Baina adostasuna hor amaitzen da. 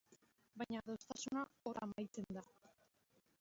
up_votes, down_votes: 0, 3